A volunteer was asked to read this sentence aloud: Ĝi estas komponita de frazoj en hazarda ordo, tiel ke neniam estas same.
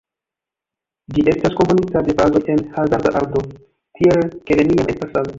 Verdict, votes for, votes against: rejected, 1, 2